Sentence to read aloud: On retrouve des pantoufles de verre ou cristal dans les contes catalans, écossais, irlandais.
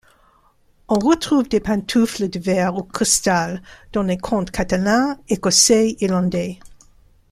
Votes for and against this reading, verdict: 0, 2, rejected